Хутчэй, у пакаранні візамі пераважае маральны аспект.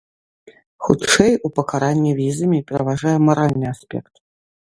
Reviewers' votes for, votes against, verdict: 2, 0, accepted